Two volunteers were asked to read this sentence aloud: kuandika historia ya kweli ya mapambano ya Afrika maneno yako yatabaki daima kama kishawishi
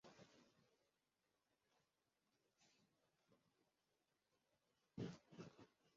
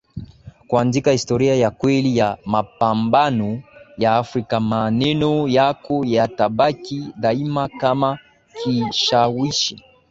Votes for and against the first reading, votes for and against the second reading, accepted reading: 0, 2, 12, 0, second